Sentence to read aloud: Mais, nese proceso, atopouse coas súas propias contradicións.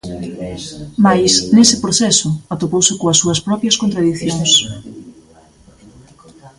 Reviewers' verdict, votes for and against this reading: rejected, 1, 2